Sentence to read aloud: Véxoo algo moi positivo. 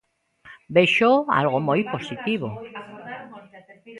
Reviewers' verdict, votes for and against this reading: rejected, 0, 2